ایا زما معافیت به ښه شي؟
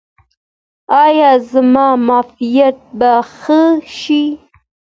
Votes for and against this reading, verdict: 0, 2, rejected